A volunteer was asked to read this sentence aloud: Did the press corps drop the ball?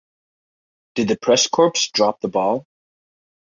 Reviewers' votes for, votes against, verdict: 2, 0, accepted